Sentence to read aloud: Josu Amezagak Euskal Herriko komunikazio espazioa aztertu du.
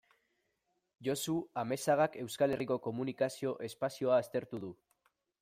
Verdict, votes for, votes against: accepted, 2, 0